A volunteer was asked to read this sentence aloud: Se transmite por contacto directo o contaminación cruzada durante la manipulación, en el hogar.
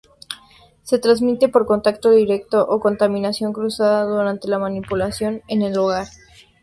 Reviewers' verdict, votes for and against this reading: accepted, 2, 0